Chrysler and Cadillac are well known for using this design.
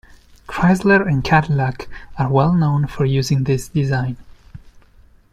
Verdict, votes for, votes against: accepted, 2, 0